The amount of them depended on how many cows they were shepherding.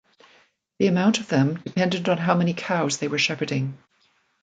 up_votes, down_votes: 2, 0